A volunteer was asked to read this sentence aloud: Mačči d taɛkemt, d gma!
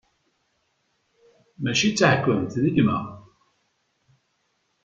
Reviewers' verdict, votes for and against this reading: accepted, 2, 0